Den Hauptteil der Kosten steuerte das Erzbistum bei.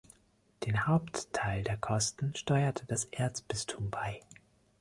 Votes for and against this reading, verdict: 2, 0, accepted